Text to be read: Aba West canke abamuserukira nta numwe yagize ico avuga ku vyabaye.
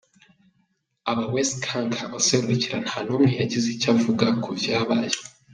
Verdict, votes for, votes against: accepted, 2, 0